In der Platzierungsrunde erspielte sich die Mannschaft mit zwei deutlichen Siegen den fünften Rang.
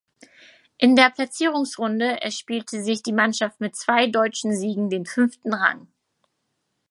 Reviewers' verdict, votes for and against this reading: rejected, 0, 4